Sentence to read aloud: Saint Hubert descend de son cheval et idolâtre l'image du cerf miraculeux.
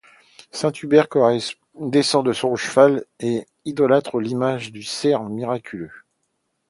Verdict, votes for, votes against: rejected, 0, 2